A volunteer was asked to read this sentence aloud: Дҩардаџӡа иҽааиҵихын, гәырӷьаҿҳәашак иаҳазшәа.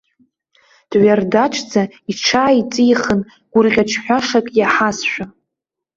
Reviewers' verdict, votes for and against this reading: accepted, 2, 0